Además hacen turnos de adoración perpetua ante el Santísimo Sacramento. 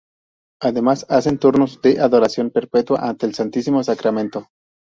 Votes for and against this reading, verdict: 0, 2, rejected